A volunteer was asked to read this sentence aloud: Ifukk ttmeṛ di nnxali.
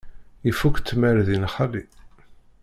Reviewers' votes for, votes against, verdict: 1, 2, rejected